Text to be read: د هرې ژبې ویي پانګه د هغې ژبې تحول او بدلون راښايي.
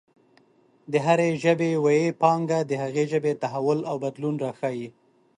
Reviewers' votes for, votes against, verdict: 2, 0, accepted